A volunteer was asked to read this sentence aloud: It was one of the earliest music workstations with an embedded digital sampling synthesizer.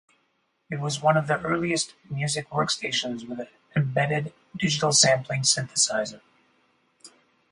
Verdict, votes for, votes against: accepted, 4, 0